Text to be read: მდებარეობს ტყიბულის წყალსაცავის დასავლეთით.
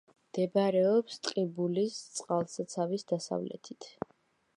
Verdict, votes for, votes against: accepted, 2, 0